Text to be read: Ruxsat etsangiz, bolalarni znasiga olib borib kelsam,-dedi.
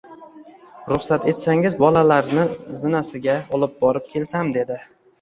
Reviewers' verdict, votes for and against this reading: rejected, 1, 2